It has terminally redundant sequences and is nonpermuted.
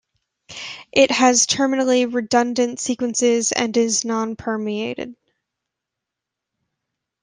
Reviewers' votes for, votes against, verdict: 1, 2, rejected